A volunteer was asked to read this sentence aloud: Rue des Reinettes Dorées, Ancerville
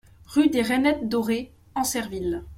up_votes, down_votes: 2, 0